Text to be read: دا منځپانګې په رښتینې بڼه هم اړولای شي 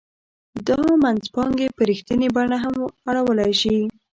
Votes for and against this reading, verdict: 2, 0, accepted